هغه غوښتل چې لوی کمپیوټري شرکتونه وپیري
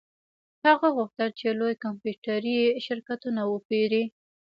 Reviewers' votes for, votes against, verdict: 2, 0, accepted